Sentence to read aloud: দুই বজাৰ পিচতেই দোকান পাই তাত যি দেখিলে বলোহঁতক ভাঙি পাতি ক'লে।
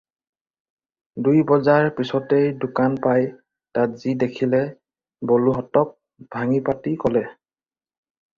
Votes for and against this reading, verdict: 4, 0, accepted